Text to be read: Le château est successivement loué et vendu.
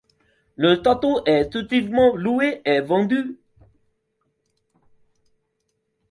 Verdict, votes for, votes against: rejected, 0, 2